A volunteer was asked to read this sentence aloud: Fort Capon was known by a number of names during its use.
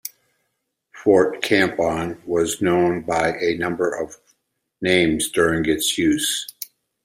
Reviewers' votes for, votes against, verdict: 1, 2, rejected